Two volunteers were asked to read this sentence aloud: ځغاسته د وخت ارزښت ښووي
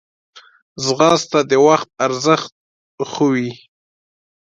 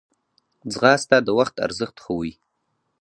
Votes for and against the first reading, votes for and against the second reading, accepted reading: 2, 0, 2, 2, first